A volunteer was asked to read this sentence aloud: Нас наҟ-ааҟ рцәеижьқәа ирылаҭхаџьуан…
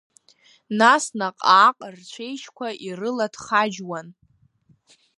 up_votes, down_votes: 3, 1